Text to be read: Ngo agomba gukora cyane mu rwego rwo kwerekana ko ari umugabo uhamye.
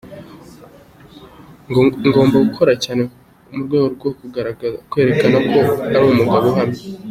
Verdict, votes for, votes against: rejected, 0, 2